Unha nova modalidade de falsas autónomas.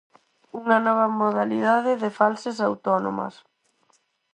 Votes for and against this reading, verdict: 4, 0, accepted